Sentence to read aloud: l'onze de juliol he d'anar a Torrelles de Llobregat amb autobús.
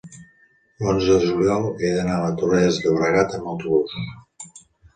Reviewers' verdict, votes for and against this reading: accepted, 3, 0